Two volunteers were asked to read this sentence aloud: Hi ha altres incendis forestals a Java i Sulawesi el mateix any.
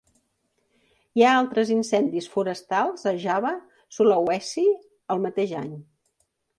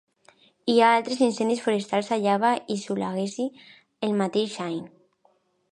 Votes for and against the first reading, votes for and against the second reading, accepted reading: 0, 2, 2, 0, second